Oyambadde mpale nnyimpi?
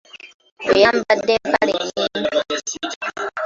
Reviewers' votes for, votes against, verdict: 0, 3, rejected